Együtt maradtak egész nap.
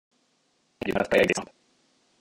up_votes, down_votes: 0, 2